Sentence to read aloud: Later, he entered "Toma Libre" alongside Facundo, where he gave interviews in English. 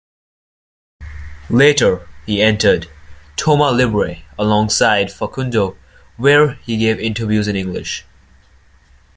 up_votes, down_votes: 2, 0